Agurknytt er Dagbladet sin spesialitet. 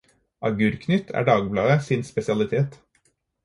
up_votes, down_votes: 4, 0